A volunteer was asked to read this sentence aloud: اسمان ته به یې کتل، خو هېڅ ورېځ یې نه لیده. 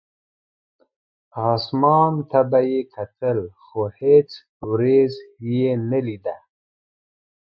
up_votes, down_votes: 2, 0